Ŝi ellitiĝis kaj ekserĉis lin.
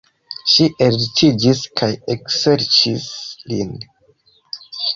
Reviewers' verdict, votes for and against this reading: accepted, 2, 1